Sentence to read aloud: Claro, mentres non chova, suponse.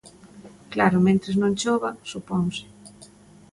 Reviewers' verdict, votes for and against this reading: accepted, 2, 0